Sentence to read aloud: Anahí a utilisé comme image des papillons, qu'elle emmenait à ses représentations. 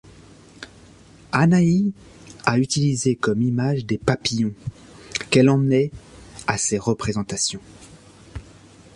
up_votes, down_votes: 2, 0